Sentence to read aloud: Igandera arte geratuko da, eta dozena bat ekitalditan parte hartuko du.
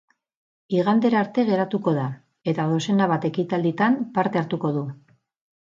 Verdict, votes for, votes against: accepted, 6, 0